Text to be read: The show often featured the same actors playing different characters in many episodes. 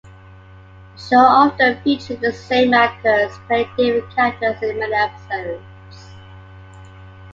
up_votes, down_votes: 2, 0